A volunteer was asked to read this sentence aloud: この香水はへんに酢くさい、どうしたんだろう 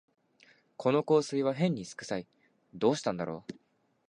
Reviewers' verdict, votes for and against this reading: accepted, 2, 0